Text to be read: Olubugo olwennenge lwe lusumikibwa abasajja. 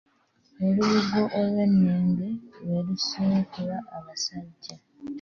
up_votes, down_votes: 1, 2